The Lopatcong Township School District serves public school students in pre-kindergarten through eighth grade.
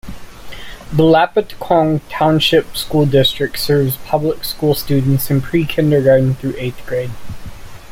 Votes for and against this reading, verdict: 2, 0, accepted